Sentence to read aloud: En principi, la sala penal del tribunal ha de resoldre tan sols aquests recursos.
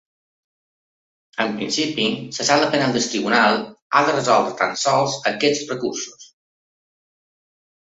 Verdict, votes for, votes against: rejected, 1, 2